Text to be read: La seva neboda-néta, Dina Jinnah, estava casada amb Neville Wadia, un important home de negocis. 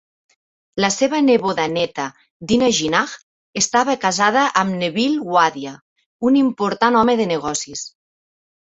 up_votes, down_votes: 2, 0